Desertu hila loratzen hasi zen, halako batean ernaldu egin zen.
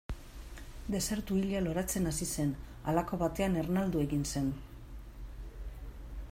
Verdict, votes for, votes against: accepted, 2, 0